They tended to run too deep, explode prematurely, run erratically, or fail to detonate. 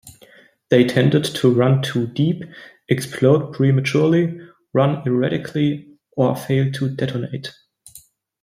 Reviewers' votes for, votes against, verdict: 2, 0, accepted